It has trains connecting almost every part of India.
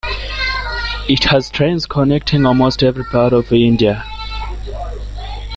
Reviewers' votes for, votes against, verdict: 2, 0, accepted